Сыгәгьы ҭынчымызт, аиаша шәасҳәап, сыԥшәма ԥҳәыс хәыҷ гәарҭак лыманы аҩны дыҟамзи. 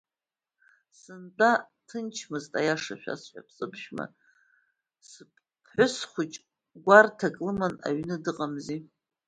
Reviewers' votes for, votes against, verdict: 0, 2, rejected